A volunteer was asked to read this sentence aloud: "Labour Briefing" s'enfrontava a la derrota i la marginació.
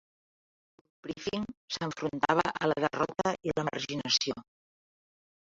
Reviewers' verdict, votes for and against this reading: rejected, 1, 3